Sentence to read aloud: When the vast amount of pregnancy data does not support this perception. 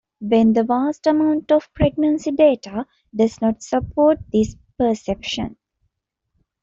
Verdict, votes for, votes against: accepted, 2, 0